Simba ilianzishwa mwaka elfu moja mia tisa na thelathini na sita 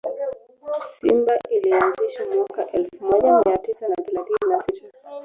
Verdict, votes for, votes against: rejected, 1, 2